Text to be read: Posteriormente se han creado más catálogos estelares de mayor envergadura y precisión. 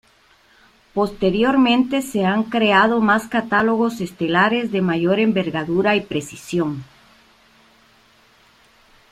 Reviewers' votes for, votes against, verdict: 2, 0, accepted